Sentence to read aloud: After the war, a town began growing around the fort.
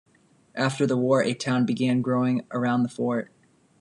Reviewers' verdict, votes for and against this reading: accepted, 2, 0